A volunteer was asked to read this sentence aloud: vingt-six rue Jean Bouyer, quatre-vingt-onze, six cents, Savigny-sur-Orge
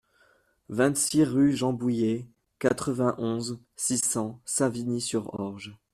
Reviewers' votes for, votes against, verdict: 2, 0, accepted